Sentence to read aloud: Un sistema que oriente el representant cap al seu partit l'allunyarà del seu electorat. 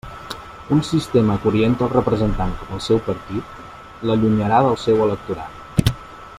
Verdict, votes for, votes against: accepted, 2, 0